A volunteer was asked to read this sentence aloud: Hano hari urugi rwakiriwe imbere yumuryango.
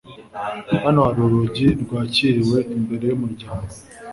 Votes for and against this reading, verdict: 2, 0, accepted